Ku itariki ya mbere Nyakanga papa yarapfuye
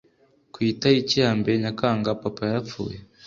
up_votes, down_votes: 2, 0